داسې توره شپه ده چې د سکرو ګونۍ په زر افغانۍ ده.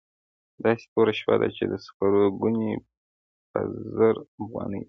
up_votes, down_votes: 0, 2